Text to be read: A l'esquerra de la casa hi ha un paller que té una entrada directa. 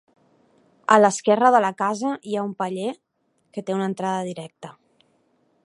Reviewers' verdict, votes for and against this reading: accepted, 2, 0